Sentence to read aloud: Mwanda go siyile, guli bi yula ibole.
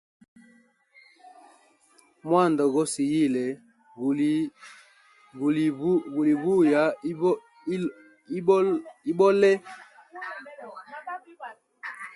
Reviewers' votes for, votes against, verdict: 0, 2, rejected